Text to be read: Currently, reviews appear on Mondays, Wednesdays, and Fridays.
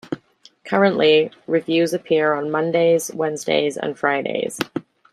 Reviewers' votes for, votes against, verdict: 1, 2, rejected